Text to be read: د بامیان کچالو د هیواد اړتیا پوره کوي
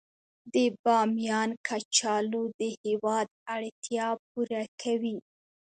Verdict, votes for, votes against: rejected, 1, 2